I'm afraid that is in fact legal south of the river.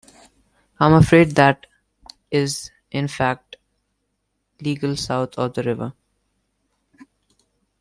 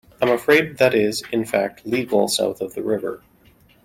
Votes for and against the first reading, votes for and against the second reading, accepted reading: 0, 2, 2, 0, second